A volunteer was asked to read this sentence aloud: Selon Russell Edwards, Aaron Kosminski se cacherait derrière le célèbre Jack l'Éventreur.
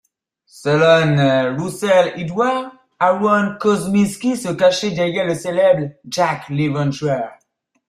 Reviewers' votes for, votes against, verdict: 0, 3, rejected